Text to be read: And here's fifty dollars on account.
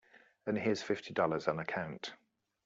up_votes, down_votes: 2, 0